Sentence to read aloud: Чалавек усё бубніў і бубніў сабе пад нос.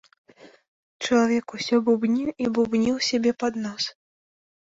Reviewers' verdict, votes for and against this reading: rejected, 1, 4